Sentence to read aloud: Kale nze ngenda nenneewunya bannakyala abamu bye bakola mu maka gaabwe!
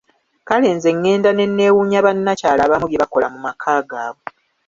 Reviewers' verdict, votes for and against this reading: accepted, 2, 1